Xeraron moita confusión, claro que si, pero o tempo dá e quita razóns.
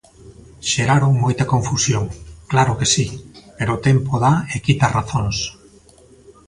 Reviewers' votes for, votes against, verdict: 1, 2, rejected